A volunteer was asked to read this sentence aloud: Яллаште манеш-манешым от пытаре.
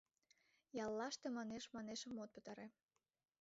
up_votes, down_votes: 2, 1